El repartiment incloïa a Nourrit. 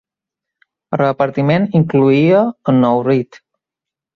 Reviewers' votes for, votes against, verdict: 2, 0, accepted